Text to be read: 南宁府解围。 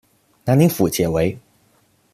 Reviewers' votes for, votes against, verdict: 2, 0, accepted